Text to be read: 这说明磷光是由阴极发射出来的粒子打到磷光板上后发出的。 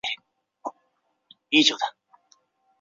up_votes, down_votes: 1, 2